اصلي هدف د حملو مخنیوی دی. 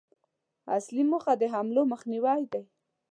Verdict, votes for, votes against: rejected, 1, 2